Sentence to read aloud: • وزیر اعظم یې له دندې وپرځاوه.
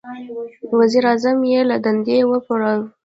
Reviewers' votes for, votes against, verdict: 0, 2, rejected